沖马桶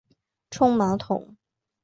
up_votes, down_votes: 0, 2